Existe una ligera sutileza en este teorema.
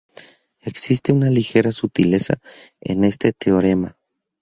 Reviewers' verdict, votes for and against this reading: rejected, 0, 2